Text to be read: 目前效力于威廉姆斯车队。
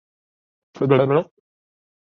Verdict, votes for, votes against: rejected, 0, 2